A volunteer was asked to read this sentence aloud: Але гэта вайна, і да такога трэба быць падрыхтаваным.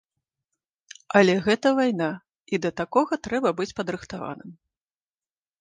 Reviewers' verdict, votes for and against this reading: accepted, 2, 0